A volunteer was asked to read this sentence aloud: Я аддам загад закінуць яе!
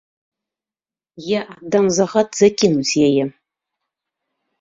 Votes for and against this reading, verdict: 2, 0, accepted